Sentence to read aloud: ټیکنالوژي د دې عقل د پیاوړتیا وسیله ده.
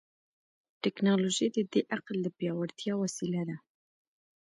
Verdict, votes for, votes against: accepted, 2, 0